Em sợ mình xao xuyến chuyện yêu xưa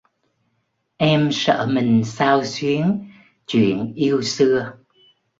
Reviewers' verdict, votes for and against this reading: accepted, 2, 0